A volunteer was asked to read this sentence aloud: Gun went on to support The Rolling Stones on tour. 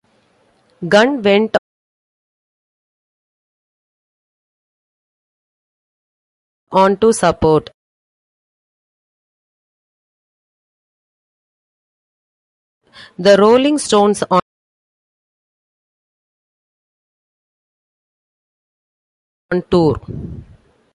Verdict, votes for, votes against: rejected, 0, 2